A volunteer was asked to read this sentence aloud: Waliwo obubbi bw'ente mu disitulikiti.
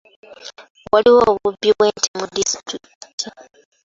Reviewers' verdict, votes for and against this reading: rejected, 1, 2